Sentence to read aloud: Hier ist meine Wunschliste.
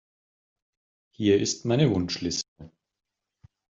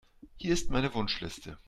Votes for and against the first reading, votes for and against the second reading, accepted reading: 1, 2, 2, 0, second